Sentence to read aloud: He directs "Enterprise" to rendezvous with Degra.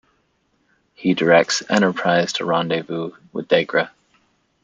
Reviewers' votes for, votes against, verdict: 2, 0, accepted